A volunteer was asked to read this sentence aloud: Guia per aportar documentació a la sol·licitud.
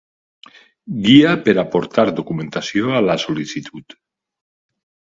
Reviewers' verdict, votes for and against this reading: accepted, 2, 0